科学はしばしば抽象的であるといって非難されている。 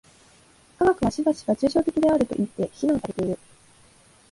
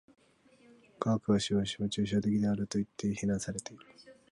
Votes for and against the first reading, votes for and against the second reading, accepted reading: 2, 1, 0, 2, first